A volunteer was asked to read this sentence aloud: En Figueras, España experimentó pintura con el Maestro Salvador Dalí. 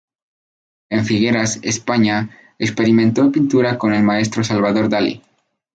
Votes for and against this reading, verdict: 2, 0, accepted